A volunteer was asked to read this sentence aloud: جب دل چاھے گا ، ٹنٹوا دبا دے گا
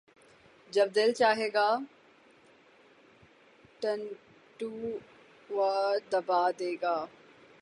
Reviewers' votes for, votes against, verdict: 0, 6, rejected